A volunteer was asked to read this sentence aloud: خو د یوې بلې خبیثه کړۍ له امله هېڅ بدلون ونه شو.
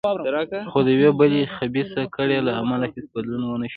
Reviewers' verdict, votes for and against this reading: rejected, 1, 2